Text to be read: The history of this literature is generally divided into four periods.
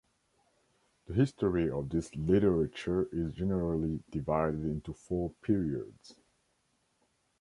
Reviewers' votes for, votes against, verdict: 2, 0, accepted